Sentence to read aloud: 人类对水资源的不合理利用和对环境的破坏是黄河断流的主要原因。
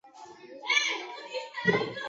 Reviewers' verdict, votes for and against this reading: rejected, 1, 2